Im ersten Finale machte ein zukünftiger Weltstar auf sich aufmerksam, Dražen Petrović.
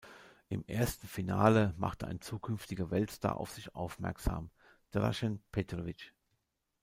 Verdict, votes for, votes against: rejected, 1, 2